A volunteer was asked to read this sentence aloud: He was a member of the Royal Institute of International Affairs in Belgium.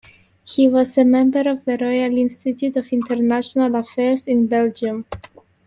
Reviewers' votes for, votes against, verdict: 2, 1, accepted